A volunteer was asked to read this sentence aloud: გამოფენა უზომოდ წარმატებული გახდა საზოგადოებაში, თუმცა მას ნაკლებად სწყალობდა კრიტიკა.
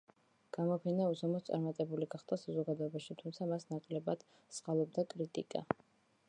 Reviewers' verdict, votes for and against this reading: accepted, 2, 0